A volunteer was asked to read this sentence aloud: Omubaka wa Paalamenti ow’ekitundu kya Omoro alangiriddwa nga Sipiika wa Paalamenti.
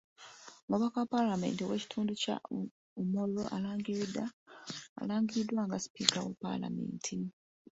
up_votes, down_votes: 2, 1